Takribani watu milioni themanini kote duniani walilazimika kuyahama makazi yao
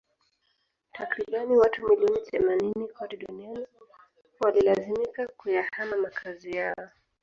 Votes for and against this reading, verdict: 1, 2, rejected